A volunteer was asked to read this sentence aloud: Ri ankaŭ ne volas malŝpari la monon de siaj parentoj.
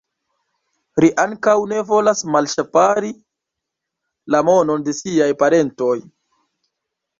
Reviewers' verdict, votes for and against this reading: rejected, 1, 2